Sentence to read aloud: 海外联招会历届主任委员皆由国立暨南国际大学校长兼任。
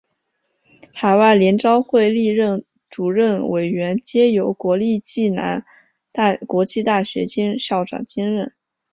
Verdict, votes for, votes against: rejected, 1, 2